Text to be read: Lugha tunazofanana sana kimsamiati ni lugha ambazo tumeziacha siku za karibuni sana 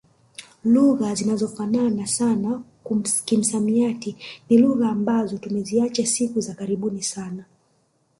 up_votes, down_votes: 1, 2